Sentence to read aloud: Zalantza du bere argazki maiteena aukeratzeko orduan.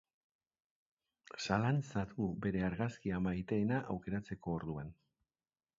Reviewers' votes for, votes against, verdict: 0, 2, rejected